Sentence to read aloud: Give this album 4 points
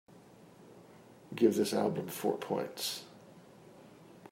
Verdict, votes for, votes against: rejected, 0, 2